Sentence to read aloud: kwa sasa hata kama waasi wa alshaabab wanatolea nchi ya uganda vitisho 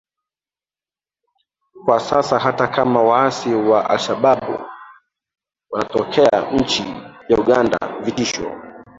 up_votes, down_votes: 0, 2